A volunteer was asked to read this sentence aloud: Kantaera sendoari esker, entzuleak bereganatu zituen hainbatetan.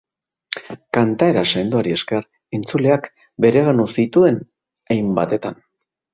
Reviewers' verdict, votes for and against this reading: rejected, 0, 2